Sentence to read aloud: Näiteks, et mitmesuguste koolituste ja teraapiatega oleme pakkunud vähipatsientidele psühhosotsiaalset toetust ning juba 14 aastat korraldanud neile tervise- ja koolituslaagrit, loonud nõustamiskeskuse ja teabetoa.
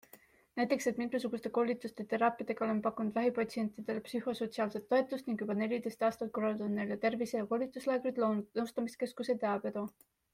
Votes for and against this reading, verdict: 0, 2, rejected